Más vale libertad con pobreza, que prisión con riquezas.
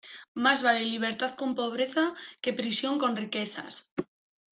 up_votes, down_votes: 2, 0